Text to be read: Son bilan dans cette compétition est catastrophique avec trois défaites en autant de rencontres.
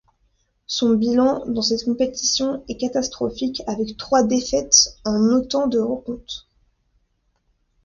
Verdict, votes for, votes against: accepted, 2, 0